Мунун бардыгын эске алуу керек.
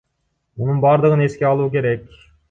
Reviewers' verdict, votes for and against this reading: accepted, 2, 0